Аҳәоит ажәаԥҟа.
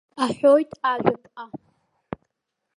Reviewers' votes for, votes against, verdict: 2, 0, accepted